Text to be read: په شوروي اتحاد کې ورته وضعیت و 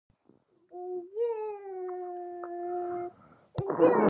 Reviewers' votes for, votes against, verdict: 0, 2, rejected